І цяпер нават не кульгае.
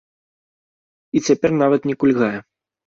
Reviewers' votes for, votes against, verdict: 2, 0, accepted